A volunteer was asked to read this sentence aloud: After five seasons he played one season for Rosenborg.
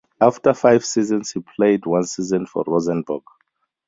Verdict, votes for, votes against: accepted, 4, 0